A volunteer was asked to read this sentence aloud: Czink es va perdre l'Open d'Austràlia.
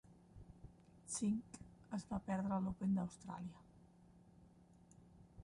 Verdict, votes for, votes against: accepted, 2, 1